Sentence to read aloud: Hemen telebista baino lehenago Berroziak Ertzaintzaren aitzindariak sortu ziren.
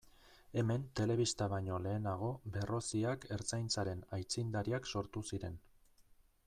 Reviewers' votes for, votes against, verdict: 3, 0, accepted